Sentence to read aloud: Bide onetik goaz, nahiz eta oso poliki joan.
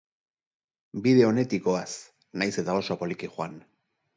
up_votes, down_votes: 2, 0